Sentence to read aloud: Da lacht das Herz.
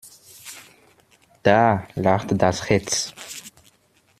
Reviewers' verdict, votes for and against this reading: rejected, 1, 2